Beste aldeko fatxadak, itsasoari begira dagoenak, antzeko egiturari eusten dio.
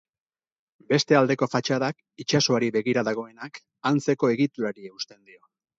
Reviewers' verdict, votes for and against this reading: accepted, 2, 0